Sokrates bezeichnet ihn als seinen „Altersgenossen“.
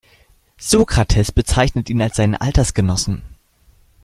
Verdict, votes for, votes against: rejected, 1, 2